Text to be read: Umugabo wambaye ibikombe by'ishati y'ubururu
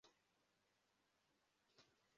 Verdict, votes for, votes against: rejected, 0, 2